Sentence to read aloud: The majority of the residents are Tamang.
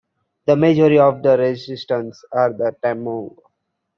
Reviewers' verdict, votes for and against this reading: rejected, 1, 2